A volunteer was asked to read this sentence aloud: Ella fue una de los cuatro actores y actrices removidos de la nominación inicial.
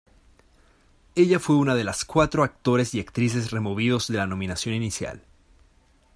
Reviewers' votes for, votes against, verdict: 2, 0, accepted